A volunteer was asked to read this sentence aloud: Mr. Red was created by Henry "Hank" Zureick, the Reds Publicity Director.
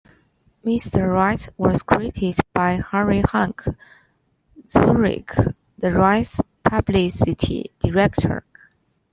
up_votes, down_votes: 0, 2